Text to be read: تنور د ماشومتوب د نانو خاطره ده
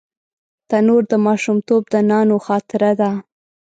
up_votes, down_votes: 2, 0